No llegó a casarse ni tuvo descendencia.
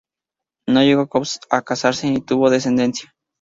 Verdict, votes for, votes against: rejected, 2, 2